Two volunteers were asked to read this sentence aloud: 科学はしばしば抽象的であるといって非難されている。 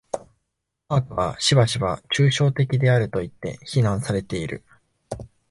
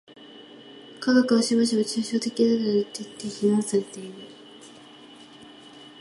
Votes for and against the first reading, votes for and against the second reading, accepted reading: 2, 0, 0, 2, first